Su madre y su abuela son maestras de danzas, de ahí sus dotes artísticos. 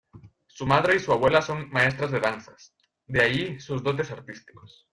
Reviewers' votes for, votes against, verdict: 2, 0, accepted